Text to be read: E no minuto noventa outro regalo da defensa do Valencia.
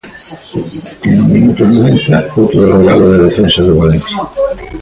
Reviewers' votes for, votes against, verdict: 0, 3, rejected